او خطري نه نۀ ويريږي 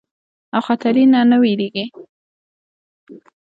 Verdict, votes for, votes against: accepted, 2, 0